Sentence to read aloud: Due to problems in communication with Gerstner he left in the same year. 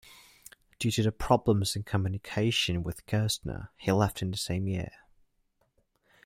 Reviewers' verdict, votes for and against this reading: rejected, 0, 2